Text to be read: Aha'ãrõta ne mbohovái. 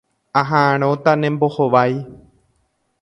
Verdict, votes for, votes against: accepted, 2, 0